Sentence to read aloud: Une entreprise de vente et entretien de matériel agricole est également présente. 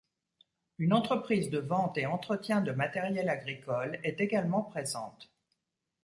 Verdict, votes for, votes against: accepted, 2, 0